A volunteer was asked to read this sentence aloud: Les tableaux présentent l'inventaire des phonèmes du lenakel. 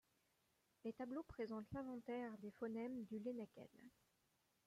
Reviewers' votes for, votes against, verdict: 1, 2, rejected